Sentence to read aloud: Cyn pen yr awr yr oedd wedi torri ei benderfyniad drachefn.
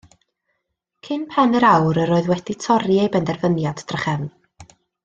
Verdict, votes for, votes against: accepted, 2, 0